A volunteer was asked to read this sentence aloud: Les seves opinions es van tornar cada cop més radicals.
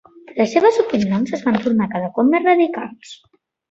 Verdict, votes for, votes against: accepted, 2, 0